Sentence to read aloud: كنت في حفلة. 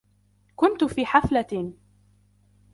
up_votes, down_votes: 2, 0